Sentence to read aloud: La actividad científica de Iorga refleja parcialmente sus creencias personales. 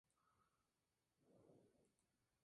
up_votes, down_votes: 0, 2